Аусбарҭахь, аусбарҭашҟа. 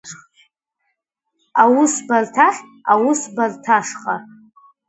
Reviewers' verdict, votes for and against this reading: rejected, 0, 2